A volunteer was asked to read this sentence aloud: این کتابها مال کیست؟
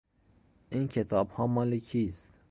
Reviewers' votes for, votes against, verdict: 2, 0, accepted